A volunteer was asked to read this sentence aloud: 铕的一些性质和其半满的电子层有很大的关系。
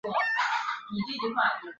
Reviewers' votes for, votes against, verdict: 0, 2, rejected